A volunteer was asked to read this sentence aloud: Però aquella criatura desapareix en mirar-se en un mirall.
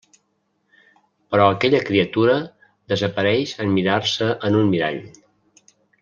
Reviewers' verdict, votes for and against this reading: accepted, 3, 0